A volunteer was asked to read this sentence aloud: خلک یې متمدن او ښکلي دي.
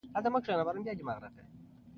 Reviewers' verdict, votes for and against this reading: rejected, 1, 2